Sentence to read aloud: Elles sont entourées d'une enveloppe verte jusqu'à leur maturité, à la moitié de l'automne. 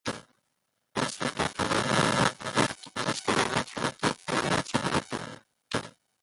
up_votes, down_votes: 1, 2